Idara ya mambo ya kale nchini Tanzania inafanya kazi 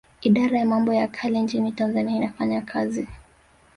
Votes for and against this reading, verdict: 3, 1, accepted